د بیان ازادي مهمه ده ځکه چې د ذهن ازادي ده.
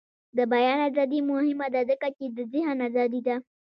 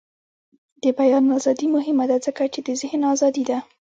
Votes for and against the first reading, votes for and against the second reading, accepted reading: 2, 0, 1, 2, first